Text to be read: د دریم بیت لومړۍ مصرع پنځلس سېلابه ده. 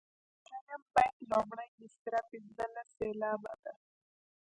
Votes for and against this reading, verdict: 1, 2, rejected